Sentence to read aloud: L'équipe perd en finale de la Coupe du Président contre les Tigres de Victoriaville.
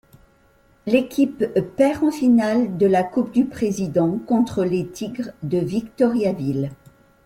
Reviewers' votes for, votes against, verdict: 2, 0, accepted